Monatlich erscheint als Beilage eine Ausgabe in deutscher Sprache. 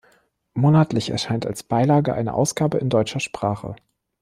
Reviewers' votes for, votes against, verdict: 2, 0, accepted